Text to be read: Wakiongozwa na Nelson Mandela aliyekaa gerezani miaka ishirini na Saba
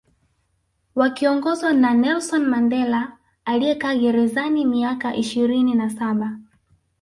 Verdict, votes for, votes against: accepted, 2, 0